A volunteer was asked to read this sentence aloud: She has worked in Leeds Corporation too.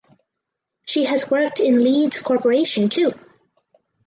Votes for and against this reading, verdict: 4, 0, accepted